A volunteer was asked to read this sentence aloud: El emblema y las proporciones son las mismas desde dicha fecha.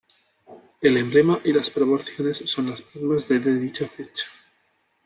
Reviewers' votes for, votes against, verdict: 0, 2, rejected